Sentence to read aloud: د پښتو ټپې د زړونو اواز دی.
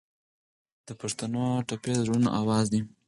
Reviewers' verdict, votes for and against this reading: rejected, 2, 4